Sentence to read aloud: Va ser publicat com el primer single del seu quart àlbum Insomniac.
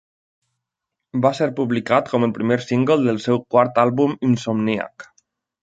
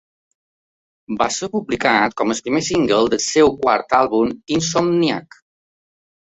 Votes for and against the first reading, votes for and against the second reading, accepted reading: 3, 0, 0, 2, first